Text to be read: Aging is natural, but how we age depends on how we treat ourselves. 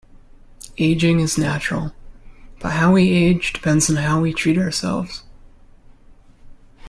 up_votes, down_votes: 2, 0